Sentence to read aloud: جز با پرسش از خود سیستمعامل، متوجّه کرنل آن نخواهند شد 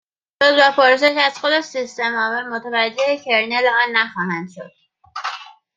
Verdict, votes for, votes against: rejected, 1, 2